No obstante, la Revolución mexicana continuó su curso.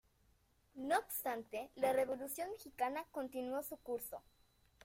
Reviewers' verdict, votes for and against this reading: accepted, 2, 1